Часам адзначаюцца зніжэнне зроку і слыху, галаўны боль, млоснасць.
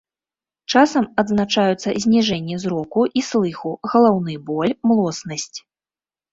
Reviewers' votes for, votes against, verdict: 2, 0, accepted